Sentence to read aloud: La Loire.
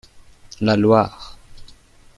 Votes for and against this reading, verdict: 2, 0, accepted